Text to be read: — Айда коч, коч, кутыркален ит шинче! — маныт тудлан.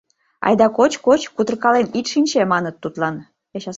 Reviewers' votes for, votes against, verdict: 0, 2, rejected